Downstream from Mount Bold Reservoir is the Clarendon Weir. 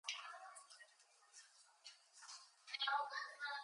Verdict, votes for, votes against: rejected, 0, 4